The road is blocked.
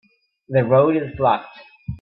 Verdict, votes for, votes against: accepted, 3, 0